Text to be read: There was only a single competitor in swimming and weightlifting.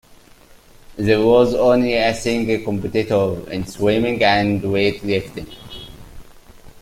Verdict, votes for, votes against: rejected, 0, 2